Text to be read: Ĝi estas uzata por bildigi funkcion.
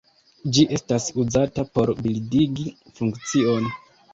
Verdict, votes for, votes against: accepted, 2, 0